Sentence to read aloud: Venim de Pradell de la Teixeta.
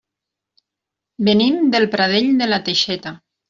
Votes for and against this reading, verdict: 0, 2, rejected